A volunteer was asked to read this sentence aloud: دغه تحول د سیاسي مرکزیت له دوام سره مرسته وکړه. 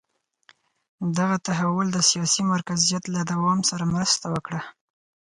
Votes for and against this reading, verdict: 4, 0, accepted